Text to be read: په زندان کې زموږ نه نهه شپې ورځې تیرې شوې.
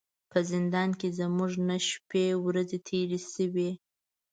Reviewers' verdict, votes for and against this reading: accepted, 2, 0